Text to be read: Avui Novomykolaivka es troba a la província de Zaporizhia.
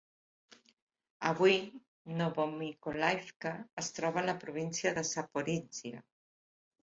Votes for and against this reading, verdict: 2, 0, accepted